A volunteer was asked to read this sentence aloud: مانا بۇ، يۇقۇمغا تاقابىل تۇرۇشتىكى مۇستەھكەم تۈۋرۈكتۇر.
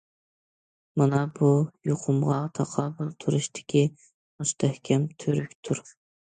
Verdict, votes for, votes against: accepted, 2, 0